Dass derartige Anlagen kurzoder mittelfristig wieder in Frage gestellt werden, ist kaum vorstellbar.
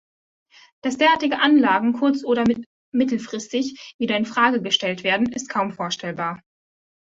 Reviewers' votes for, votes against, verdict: 1, 2, rejected